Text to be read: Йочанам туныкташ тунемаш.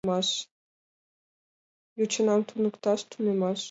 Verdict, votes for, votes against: rejected, 0, 2